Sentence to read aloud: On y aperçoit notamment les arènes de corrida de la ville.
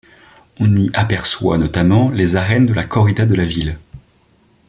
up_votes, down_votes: 0, 2